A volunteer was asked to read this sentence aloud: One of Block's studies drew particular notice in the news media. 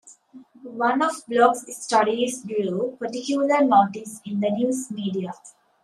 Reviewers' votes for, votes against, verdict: 2, 0, accepted